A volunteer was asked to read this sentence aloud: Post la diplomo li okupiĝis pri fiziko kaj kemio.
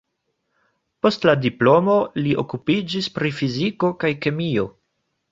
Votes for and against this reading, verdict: 0, 2, rejected